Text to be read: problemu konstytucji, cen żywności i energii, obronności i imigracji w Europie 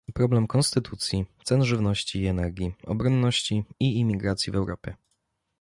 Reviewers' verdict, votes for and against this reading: rejected, 0, 2